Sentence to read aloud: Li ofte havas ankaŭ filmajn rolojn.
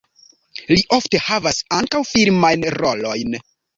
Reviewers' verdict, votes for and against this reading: rejected, 0, 2